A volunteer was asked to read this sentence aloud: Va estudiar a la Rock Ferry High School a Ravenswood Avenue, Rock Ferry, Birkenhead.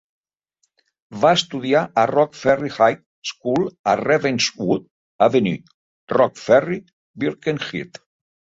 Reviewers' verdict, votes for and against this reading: rejected, 0, 2